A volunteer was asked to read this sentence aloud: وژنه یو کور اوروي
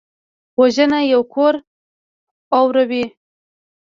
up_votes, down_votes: 1, 2